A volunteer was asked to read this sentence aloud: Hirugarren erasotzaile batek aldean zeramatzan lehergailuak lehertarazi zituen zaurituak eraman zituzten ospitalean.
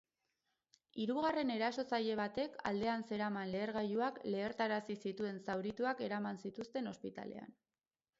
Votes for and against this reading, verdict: 2, 6, rejected